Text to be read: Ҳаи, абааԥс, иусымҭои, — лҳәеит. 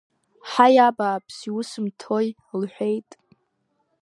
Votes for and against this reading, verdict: 2, 0, accepted